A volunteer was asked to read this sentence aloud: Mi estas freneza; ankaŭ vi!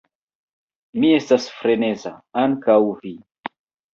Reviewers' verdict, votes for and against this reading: rejected, 1, 2